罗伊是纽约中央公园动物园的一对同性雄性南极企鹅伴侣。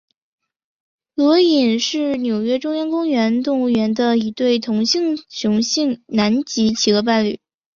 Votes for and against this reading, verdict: 0, 2, rejected